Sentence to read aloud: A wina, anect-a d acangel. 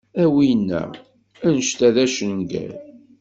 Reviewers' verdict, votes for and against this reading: rejected, 1, 2